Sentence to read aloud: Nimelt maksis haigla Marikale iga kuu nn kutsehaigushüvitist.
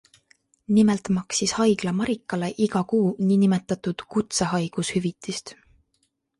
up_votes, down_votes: 2, 0